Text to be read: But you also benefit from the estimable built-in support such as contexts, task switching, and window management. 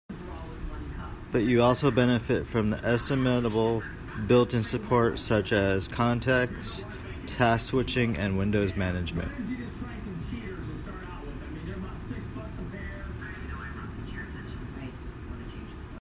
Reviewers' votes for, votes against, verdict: 0, 2, rejected